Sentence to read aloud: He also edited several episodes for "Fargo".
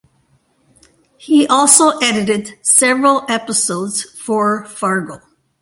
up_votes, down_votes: 2, 0